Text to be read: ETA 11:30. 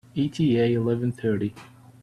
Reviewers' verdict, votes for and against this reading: rejected, 0, 2